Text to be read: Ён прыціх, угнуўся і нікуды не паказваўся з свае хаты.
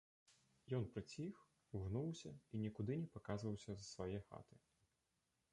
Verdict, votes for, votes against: rejected, 0, 2